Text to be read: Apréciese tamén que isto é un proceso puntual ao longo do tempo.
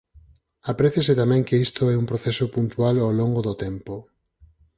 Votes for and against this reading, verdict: 4, 0, accepted